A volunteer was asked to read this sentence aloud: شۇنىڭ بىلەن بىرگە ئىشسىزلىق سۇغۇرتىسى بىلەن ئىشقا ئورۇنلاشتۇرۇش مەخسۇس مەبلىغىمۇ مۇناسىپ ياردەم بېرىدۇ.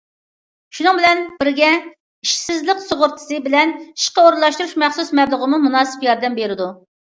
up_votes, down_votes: 2, 0